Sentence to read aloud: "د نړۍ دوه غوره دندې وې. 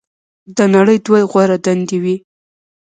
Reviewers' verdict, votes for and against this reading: accepted, 2, 0